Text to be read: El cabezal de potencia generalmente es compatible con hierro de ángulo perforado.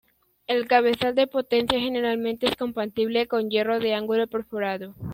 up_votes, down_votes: 2, 0